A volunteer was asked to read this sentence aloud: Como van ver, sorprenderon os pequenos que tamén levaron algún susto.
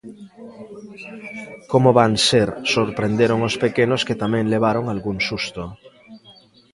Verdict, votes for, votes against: rejected, 0, 2